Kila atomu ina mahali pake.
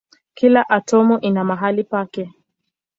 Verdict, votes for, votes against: accepted, 3, 1